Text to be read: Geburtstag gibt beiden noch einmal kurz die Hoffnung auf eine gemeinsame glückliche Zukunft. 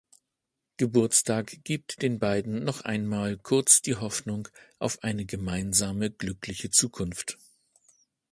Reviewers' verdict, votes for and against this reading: rejected, 1, 2